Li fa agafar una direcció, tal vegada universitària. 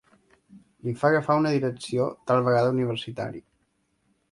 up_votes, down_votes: 3, 0